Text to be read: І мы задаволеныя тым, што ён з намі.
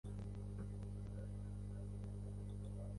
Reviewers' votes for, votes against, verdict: 1, 2, rejected